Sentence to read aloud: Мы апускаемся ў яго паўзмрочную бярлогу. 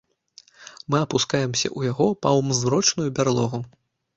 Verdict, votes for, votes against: accepted, 2, 1